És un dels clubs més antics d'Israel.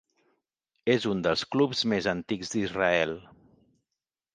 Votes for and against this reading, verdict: 2, 0, accepted